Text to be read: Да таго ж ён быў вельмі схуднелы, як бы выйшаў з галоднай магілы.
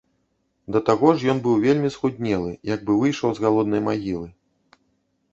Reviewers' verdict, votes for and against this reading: accepted, 2, 0